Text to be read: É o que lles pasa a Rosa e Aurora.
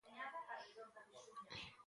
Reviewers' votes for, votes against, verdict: 0, 3, rejected